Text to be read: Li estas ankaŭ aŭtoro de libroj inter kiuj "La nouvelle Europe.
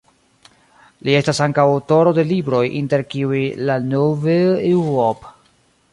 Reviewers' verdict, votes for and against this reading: rejected, 1, 2